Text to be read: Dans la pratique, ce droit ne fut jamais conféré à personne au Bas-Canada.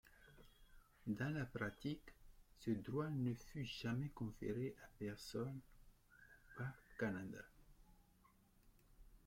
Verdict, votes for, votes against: accepted, 2, 0